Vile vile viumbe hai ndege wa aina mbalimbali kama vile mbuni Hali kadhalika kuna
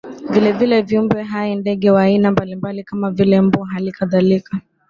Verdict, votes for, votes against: rejected, 0, 2